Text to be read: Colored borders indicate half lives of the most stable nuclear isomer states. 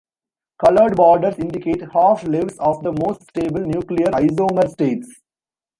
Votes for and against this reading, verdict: 1, 2, rejected